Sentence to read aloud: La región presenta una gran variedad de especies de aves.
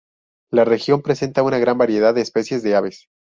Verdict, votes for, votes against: accepted, 2, 0